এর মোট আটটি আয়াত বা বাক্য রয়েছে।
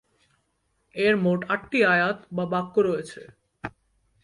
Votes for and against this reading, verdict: 14, 0, accepted